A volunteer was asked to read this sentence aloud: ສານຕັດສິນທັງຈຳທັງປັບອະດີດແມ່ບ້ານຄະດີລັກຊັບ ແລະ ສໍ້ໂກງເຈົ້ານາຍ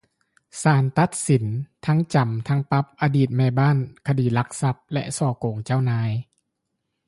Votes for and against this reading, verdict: 2, 0, accepted